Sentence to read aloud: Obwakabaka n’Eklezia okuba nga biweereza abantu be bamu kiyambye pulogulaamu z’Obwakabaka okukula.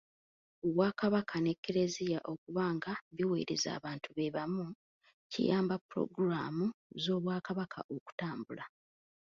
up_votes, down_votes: 1, 2